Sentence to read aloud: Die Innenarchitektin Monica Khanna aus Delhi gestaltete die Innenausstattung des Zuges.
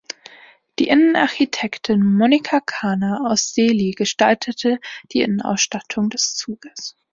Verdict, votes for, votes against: accepted, 2, 0